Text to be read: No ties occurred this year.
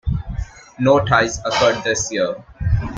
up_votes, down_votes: 2, 1